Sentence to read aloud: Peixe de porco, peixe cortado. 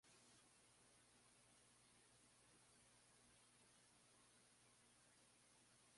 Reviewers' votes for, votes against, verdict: 0, 2, rejected